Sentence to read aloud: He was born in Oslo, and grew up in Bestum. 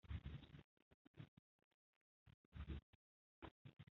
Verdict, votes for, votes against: rejected, 0, 2